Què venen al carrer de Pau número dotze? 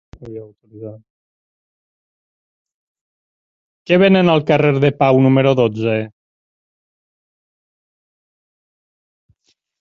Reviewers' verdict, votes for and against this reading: accepted, 8, 4